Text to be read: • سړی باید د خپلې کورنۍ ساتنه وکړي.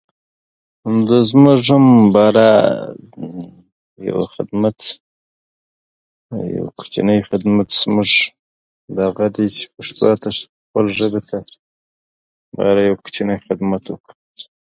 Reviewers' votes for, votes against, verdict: 0, 2, rejected